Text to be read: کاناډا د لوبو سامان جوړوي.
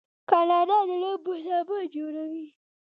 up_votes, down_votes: 2, 0